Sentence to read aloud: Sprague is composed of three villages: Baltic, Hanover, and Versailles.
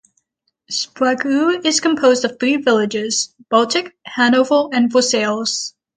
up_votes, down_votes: 0, 6